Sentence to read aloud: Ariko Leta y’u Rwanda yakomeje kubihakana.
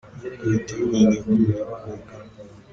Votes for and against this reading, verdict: 1, 2, rejected